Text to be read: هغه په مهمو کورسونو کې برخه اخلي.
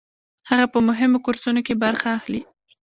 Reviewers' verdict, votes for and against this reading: rejected, 0, 2